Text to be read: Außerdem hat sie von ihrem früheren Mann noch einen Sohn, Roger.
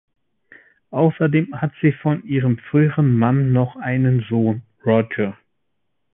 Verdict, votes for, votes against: accepted, 2, 0